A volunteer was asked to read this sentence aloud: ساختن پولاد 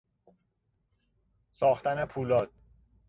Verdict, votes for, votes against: accepted, 2, 0